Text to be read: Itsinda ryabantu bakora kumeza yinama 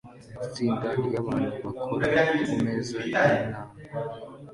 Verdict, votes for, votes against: accepted, 2, 0